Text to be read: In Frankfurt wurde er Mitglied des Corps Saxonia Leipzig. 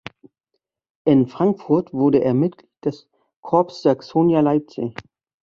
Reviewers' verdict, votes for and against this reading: rejected, 1, 2